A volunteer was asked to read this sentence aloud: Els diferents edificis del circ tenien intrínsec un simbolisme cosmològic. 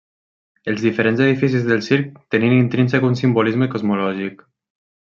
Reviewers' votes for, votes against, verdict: 3, 0, accepted